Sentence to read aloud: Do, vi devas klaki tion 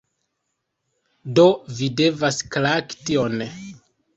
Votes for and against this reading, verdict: 0, 2, rejected